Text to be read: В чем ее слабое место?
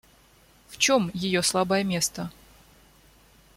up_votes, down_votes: 2, 0